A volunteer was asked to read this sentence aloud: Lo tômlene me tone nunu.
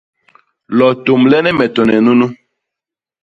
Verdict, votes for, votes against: accepted, 2, 0